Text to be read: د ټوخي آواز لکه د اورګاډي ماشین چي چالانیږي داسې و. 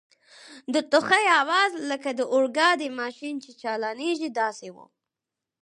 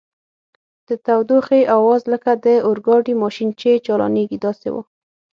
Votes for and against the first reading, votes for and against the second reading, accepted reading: 4, 2, 3, 6, first